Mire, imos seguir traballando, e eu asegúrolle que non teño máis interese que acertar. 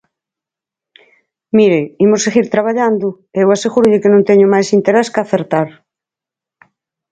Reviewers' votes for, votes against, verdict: 4, 6, rejected